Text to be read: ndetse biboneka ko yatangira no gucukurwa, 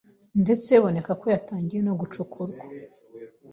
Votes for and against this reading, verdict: 2, 0, accepted